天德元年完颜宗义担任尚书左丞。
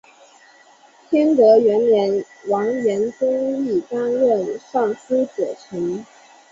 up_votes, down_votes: 2, 0